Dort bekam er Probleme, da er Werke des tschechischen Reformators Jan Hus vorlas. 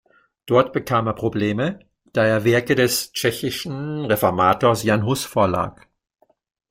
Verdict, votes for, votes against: accepted, 2, 1